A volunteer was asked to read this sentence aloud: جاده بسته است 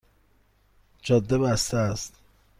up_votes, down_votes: 2, 0